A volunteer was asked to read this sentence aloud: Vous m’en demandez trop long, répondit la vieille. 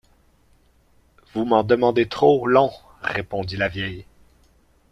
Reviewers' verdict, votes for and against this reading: rejected, 0, 2